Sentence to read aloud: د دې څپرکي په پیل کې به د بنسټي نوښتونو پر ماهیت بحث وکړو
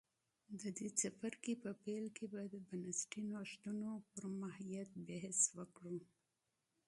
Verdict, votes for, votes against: accepted, 2, 1